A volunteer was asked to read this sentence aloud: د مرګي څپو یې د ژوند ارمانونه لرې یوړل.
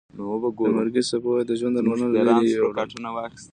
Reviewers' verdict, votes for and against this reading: rejected, 1, 2